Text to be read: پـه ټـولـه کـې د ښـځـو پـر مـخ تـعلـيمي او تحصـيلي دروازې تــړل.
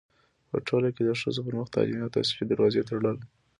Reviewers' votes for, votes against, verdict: 2, 0, accepted